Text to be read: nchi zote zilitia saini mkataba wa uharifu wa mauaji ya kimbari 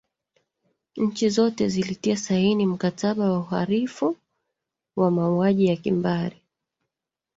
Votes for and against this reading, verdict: 0, 2, rejected